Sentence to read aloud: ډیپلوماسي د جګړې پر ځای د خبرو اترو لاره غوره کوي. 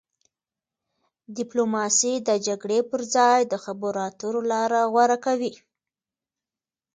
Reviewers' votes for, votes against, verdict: 2, 0, accepted